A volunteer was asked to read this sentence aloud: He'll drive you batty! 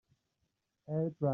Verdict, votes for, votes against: rejected, 0, 2